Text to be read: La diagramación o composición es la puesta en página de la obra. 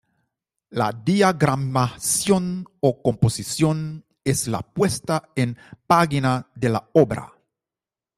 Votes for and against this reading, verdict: 0, 2, rejected